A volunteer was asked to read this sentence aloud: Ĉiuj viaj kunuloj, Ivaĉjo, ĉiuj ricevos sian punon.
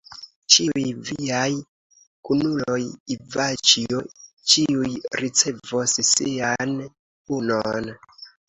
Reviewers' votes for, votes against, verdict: 1, 2, rejected